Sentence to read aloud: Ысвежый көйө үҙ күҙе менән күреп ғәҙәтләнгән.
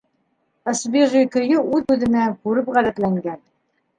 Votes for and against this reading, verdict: 1, 2, rejected